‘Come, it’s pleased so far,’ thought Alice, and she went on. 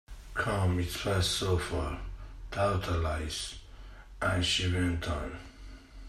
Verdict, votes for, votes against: rejected, 0, 2